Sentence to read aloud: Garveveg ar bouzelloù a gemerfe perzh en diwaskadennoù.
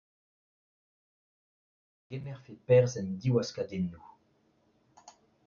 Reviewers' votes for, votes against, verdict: 0, 2, rejected